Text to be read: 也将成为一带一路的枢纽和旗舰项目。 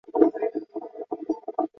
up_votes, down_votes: 0, 2